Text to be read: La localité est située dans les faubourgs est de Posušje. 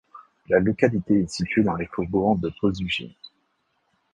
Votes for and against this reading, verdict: 1, 2, rejected